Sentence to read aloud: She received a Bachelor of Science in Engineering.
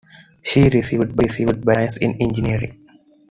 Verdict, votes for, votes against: rejected, 1, 2